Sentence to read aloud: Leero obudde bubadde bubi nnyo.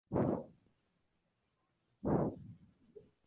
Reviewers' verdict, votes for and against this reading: rejected, 0, 2